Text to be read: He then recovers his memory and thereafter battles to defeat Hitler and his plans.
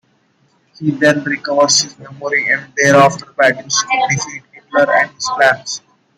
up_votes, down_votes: 2, 1